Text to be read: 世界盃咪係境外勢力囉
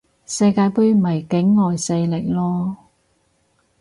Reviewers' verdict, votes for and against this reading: rejected, 2, 4